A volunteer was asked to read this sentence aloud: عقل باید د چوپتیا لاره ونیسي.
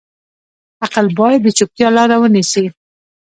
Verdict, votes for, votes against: rejected, 1, 2